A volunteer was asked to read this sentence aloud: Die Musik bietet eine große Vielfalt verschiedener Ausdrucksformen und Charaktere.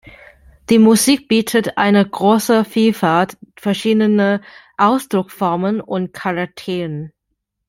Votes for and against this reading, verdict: 0, 2, rejected